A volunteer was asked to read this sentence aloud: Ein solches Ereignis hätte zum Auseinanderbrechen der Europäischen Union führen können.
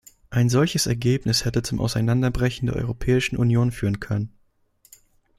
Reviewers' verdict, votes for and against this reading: rejected, 0, 2